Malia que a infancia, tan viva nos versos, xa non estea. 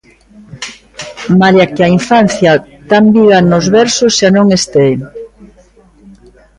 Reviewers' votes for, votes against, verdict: 1, 2, rejected